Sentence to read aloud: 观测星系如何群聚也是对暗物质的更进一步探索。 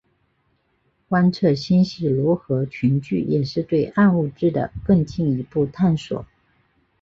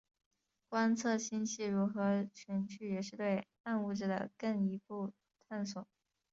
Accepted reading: first